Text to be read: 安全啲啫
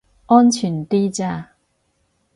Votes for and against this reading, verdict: 2, 4, rejected